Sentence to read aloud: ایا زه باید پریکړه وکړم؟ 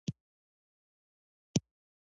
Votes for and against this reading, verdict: 1, 2, rejected